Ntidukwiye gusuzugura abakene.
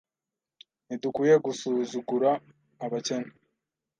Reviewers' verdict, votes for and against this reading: accepted, 2, 0